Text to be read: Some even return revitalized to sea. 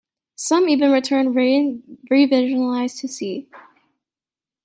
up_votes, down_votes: 0, 3